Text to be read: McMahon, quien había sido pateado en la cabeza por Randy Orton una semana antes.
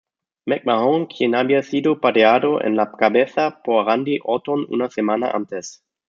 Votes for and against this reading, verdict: 1, 2, rejected